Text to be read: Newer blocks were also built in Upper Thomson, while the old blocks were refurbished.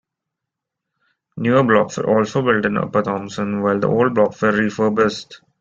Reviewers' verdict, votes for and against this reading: accepted, 2, 0